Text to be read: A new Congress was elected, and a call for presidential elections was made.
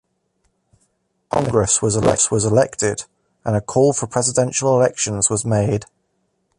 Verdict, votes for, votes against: rejected, 0, 2